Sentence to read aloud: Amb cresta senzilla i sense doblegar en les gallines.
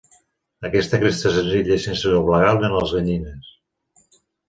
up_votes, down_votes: 0, 2